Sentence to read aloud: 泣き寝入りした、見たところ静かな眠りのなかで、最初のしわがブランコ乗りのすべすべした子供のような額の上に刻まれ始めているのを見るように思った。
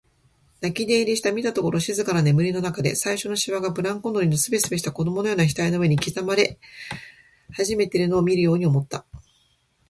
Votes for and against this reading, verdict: 2, 0, accepted